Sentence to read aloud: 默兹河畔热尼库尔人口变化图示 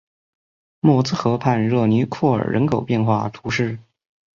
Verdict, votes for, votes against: accepted, 2, 0